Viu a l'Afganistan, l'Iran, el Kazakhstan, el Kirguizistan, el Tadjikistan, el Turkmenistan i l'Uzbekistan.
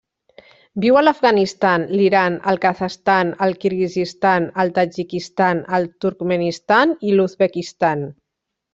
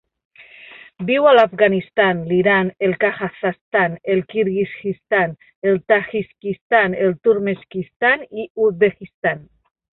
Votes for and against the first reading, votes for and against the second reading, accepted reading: 2, 0, 0, 2, first